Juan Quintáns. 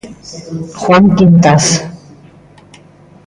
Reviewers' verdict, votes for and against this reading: rejected, 0, 2